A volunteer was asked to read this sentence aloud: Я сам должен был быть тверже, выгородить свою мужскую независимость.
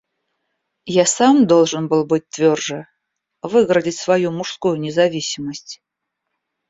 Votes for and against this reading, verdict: 0, 2, rejected